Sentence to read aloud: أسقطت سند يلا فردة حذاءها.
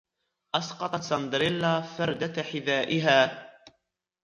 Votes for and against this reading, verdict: 2, 1, accepted